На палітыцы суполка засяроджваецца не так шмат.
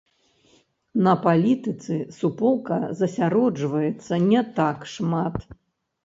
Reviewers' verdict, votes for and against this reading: rejected, 0, 2